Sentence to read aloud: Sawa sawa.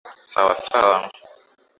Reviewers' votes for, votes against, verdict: 2, 0, accepted